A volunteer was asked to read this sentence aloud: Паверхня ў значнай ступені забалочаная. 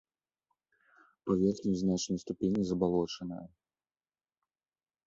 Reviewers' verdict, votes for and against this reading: rejected, 1, 2